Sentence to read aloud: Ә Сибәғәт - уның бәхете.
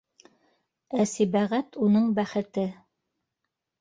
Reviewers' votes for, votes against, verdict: 1, 2, rejected